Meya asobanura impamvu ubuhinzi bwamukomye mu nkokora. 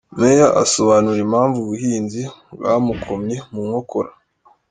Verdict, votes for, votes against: accepted, 3, 0